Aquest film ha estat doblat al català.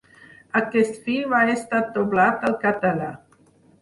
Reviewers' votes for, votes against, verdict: 4, 0, accepted